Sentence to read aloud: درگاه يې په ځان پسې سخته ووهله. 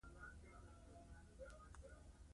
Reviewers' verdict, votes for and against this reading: rejected, 1, 2